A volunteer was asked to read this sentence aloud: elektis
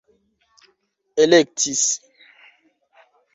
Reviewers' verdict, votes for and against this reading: rejected, 1, 2